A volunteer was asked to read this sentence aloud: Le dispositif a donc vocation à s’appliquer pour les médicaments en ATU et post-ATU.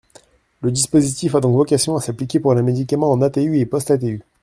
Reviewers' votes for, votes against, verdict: 0, 2, rejected